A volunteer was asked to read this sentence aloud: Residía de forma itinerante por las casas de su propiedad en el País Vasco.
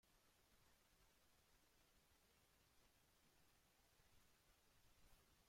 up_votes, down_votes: 0, 2